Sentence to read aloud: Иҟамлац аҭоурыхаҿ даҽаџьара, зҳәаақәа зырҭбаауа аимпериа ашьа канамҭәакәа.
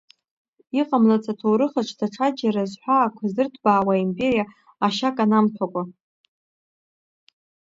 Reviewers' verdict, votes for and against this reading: rejected, 1, 2